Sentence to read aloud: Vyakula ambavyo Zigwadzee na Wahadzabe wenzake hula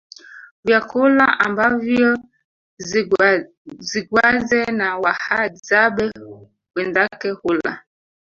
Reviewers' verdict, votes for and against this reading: rejected, 1, 2